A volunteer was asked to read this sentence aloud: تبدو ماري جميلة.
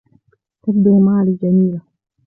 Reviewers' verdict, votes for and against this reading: rejected, 0, 2